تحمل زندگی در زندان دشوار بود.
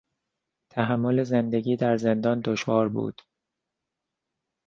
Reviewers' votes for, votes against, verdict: 2, 0, accepted